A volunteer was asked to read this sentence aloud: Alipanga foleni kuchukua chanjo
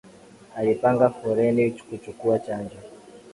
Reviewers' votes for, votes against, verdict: 2, 1, accepted